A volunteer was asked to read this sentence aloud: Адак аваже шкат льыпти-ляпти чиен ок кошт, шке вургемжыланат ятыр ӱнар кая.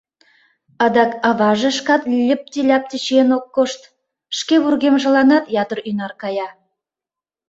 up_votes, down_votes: 2, 0